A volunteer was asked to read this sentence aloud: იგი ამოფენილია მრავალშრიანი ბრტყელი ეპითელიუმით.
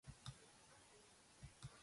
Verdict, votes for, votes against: rejected, 0, 2